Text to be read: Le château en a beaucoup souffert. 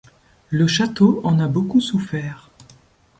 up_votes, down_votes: 2, 0